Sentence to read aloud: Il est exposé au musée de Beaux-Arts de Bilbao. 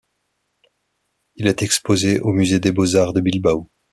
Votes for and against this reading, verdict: 2, 1, accepted